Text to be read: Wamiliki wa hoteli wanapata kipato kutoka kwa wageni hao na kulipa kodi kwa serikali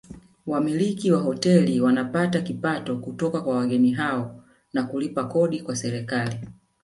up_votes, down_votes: 1, 2